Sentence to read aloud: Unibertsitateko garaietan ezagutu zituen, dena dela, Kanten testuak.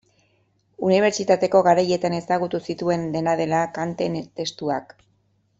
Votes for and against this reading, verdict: 1, 2, rejected